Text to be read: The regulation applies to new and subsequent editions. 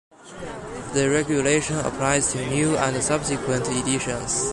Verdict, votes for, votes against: accepted, 2, 0